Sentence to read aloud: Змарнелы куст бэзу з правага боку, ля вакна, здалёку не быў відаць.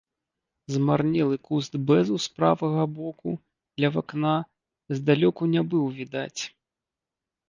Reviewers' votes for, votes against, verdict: 1, 2, rejected